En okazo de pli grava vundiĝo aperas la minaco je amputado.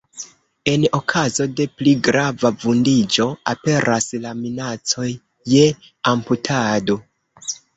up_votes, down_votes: 1, 3